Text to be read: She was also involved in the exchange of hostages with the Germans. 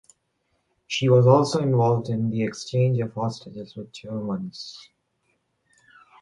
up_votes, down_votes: 0, 2